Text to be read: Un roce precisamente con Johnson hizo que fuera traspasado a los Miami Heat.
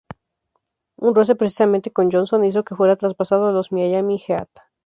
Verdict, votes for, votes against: accepted, 4, 0